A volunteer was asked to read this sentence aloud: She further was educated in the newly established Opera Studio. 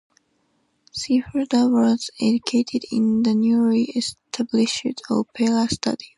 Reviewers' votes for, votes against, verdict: 2, 0, accepted